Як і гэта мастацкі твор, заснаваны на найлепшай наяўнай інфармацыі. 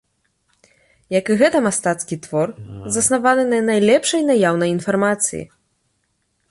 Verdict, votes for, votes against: accepted, 2, 0